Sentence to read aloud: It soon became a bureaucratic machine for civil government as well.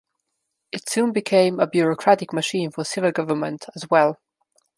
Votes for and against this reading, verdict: 2, 0, accepted